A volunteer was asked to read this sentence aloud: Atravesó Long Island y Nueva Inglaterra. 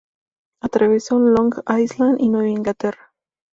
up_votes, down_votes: 2, 0